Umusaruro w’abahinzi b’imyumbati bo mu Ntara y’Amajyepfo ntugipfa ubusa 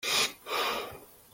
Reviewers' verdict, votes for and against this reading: rejected, 0, 2